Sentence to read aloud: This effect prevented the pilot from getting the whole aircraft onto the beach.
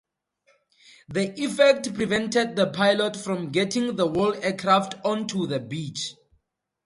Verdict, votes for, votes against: accepted, 2, 0